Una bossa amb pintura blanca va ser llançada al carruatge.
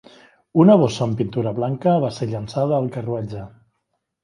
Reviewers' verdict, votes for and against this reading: accepted, 2, 0